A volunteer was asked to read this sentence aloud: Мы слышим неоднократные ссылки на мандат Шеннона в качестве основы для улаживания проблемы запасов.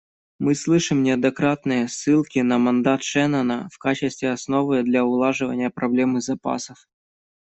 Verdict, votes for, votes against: accepted, 2, 0